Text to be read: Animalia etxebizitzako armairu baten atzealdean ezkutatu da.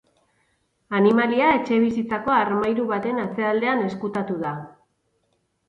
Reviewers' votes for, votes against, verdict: 4, 0, accepted